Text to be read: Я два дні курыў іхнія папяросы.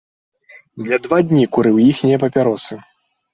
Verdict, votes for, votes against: accepted, 2, 0